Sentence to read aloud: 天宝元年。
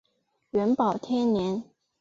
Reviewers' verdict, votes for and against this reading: rejected, 2, 3